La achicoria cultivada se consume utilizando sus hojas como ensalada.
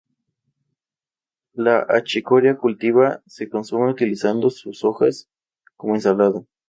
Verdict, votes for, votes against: rejected, 0, 2